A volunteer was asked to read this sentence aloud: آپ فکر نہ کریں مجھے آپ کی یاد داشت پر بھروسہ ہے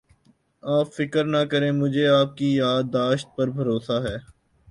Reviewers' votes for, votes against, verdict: 2, 0, accepted